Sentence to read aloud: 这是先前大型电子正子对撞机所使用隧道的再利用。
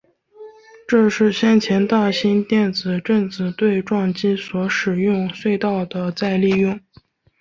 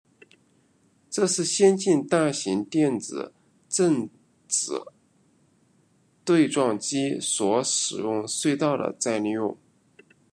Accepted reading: first